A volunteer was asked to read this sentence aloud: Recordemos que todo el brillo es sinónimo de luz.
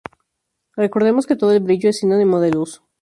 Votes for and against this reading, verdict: 4, 0, accepted